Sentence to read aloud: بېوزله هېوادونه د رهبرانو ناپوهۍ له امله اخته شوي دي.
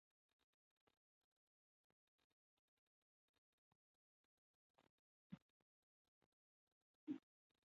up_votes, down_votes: 0, 3